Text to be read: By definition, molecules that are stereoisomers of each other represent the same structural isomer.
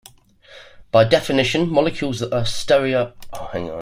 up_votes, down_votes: 0, 2